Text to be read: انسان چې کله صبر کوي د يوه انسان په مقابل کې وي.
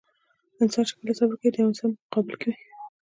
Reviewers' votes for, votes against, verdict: 2, 1, accepted